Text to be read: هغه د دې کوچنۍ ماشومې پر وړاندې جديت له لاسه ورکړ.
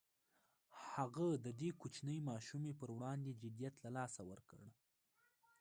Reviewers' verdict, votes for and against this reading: rejected, 1, 2